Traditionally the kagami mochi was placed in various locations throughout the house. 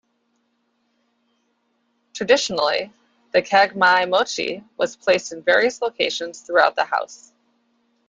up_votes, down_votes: 1, 2